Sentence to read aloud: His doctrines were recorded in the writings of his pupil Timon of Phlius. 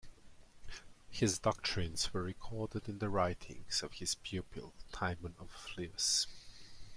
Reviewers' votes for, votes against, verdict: 2, 0, accepted